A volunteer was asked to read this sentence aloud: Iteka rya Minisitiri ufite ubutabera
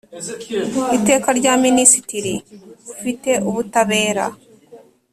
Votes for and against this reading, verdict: 2, 0, accepted